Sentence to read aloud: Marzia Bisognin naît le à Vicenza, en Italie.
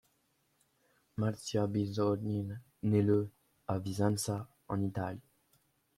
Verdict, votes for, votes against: accepted, 2, 0